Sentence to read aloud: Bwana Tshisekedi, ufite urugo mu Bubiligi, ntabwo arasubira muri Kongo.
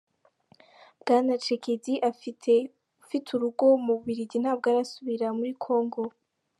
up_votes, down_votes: 0, 2